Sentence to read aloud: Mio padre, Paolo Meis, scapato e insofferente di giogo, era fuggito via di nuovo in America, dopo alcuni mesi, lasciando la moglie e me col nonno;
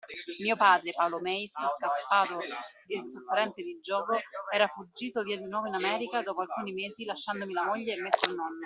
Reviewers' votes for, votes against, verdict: 0, 2, rejected